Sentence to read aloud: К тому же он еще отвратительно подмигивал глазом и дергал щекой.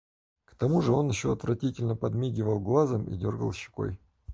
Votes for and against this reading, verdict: 4, 0, accepted